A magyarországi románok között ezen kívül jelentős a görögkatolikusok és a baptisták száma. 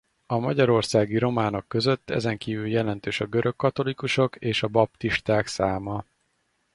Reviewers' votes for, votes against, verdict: 4, 0, accepted